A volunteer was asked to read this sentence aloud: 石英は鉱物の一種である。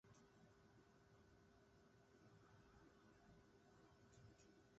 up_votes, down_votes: 0, 2